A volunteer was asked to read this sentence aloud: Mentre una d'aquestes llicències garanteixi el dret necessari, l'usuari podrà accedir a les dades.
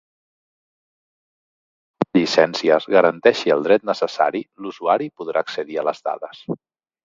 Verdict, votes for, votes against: rejected, 0, 2